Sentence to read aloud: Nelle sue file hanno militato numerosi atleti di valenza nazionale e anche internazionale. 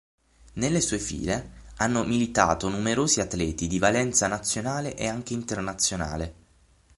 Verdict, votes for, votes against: accepted, 6, 0